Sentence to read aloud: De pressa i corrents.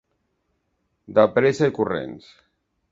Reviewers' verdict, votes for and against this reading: accepted, 2, 0